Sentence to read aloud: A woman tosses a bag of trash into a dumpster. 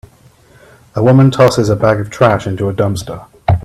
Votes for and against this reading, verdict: 2, 0, accepted